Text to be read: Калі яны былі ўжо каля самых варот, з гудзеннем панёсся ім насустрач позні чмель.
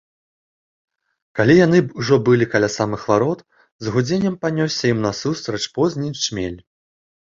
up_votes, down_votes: 1, 2